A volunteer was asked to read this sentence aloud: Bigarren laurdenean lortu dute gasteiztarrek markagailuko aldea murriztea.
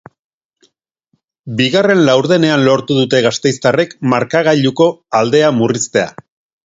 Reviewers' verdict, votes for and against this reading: accepted, 2, 0